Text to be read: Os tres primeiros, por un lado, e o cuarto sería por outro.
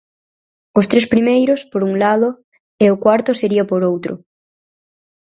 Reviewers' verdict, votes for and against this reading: accepted, 4, 0